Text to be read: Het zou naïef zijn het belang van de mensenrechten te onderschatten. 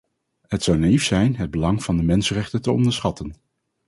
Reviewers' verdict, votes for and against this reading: accepted, 4, 0